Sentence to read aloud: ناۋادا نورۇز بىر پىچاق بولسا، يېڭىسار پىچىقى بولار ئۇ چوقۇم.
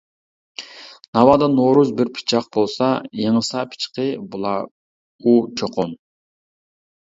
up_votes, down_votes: 1, 2